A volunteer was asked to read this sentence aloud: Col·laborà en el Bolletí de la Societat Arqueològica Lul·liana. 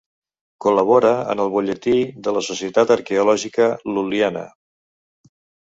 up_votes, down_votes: 1, 2